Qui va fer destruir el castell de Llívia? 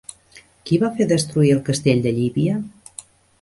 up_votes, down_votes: 3, 0